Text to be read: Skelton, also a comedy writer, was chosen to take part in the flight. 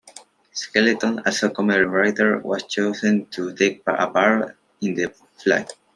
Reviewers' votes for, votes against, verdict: 0, 2, rejected